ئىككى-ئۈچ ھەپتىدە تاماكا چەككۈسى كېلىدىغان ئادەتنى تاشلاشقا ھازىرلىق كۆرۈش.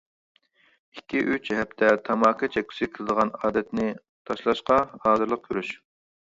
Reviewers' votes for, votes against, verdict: 1, 2, rejected